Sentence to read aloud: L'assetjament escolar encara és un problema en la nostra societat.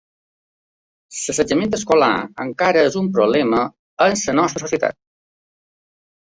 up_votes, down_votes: 2, 0